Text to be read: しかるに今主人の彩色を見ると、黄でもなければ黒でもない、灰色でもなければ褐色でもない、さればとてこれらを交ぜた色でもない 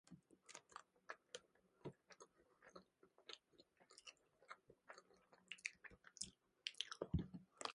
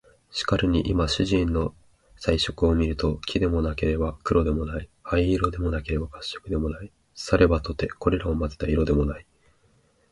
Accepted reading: second